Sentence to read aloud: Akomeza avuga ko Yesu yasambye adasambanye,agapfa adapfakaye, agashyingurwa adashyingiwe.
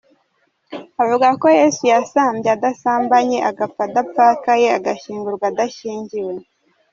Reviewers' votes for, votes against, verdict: 1, 2, rejected